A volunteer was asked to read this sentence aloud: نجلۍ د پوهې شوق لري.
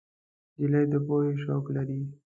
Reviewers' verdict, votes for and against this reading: rejected, 1, 2